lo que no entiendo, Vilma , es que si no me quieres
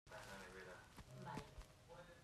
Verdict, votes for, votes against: rejected, 1, 3